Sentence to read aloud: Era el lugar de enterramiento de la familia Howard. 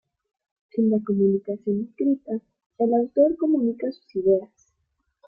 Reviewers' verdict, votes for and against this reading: rejected, 0, 2